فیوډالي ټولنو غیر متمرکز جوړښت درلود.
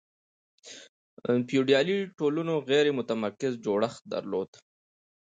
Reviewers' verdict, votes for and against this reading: accepted, 2, 0